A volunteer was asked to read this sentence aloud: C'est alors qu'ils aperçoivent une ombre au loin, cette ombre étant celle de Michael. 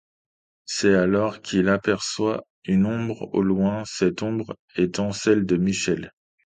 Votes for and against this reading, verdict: 1, 2, rejected